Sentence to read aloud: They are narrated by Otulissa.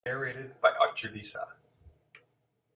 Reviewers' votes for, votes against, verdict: 0, 2, rejected